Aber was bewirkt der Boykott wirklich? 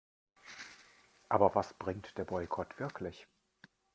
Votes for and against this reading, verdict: 0, 2, rejected